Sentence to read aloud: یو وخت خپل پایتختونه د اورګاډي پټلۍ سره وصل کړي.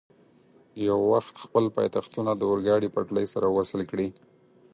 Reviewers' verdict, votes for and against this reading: accepted, 4, 0